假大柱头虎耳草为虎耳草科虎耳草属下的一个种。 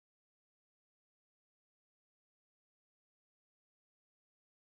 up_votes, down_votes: 0, 3